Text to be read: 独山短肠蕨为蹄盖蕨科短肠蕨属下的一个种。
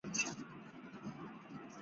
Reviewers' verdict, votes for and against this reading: rejected, 0, 2